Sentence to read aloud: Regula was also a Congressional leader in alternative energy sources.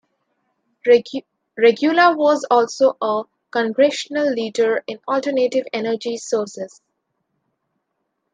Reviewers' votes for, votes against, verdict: 2, 1, accepted